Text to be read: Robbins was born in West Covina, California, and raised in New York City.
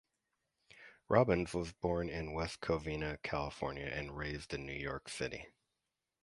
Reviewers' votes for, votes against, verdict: 2, 0, accepted